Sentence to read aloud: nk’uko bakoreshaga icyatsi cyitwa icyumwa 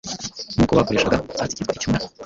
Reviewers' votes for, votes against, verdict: 1, 2, rejected